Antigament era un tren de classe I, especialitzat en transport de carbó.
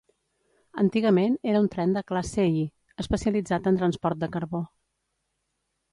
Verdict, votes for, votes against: accepted, 2, 0